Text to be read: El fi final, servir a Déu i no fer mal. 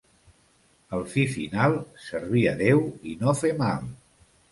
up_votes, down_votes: 2, 0